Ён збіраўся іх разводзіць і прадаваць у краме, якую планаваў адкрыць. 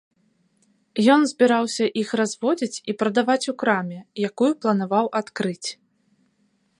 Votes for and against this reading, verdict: 2, 0, accepted